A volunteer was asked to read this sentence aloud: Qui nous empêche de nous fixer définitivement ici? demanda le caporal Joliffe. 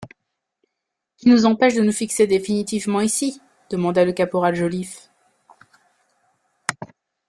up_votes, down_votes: 1, 2